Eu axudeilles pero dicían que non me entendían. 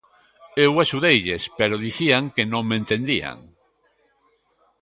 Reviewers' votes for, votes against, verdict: 2, 0, accepted